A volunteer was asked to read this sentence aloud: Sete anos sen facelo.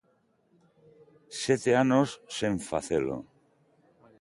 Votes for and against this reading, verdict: 2, 0, accepted